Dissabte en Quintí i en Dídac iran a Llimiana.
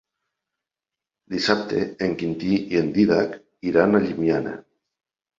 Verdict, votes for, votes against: accepted, 3, 0